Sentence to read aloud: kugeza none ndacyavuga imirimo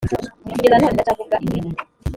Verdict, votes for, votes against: rejected, 1, 2